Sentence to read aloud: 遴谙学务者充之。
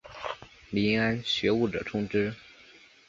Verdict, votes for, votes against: accepted, 2, 1